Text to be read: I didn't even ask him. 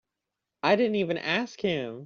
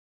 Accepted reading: first